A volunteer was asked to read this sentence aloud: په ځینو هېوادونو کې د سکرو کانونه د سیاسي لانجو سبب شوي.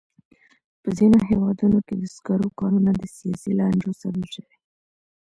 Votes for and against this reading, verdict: 2, 0, accepted